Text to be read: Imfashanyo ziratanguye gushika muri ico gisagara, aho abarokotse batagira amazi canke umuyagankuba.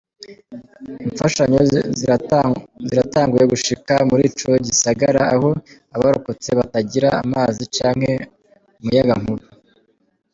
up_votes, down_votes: 0, 2